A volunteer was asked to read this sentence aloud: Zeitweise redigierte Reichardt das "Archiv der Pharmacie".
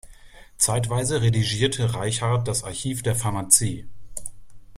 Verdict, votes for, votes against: accepted, 2, 1